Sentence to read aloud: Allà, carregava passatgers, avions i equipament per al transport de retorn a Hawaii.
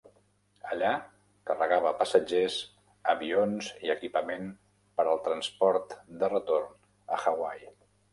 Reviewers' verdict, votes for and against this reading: accepted, 3, 0